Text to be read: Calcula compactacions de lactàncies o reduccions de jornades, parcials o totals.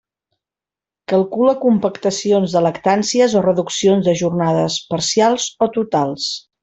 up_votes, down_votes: 2, 0